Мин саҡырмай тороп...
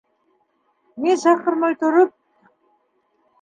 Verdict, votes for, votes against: accepted, 2, 1